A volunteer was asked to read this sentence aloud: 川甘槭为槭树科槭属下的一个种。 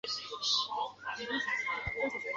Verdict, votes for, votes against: rejected, 0, 2